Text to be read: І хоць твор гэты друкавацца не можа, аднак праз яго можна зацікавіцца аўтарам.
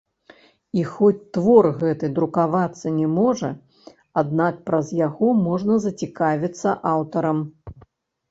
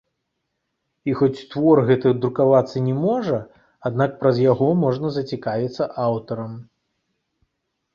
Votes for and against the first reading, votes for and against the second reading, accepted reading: 1, 2, 2, 0, second